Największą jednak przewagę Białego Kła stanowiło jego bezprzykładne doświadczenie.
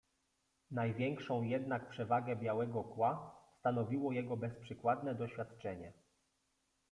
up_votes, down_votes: 0, 2